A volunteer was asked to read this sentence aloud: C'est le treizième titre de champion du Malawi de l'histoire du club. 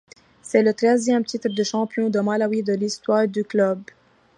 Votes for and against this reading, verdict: 2, 0, accepted